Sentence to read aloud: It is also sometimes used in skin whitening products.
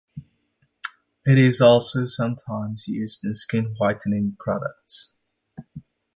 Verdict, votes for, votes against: accepted, 2, 0